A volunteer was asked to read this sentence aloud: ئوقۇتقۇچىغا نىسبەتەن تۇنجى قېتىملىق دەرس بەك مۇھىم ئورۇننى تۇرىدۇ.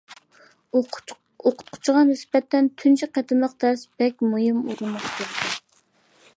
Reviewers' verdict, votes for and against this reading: rejected, 0, 2